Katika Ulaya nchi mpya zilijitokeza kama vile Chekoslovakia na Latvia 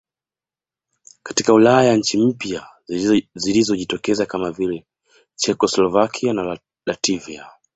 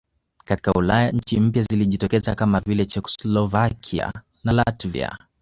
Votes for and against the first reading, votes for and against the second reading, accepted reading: 1, 2, 2, 1, second